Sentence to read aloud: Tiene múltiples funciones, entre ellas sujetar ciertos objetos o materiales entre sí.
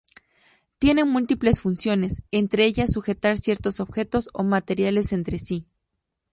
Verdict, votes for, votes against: accepted, 2, 0